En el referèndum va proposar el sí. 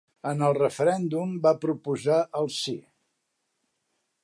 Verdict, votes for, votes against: accepted, 3, 0